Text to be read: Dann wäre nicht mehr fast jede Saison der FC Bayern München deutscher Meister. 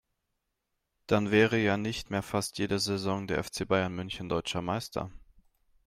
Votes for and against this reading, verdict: 1, 2, rejected